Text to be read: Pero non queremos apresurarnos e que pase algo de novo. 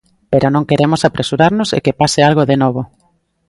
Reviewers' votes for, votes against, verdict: 2, 0, accepted